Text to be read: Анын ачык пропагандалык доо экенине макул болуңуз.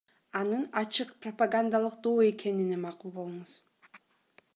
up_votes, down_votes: 2, 0